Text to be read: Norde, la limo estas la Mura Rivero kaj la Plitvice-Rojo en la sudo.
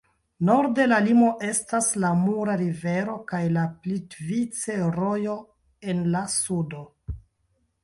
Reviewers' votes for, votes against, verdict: 2, 1, accepted